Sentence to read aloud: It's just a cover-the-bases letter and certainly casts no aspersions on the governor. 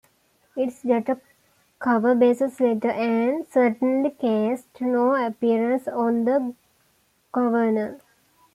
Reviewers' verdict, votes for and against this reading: rejected, 0, 2